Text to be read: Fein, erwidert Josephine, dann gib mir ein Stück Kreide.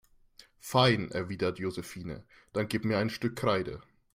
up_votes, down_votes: 2, 0